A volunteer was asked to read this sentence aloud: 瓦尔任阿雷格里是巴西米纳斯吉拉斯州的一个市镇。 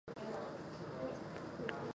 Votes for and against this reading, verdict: 0, 10, rejected